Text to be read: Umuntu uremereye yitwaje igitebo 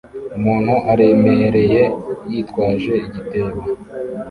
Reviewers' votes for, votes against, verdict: 0, 2, rejected